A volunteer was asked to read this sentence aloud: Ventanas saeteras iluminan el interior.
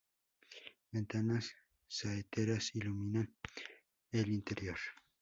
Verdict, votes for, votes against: rejected, 0, 2